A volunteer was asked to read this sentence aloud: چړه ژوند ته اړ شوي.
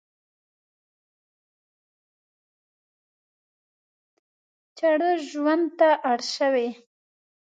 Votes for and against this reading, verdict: 2, 0, accepted